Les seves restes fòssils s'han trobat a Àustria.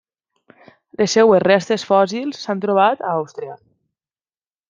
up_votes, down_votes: 0, 2